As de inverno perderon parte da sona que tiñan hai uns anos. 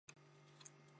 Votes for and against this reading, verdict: 1, 2, rejected